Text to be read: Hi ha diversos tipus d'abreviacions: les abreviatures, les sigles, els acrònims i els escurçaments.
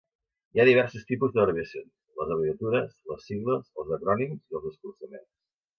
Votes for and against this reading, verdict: 0, 2, rejected